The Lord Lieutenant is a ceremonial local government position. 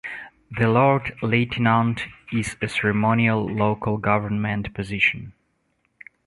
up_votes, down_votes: 1, 2